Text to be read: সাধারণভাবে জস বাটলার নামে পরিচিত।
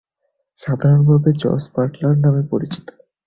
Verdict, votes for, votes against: accepted, 7, 0